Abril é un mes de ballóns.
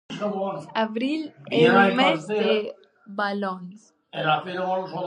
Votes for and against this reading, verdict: 0, 2, rejected